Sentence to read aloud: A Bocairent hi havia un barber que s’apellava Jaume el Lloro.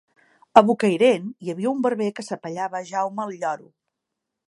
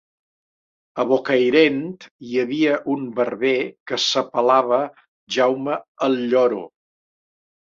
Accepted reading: first